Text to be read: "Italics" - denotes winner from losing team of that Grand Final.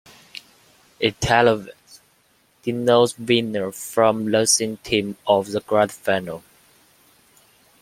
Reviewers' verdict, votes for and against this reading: rejected, 1, 2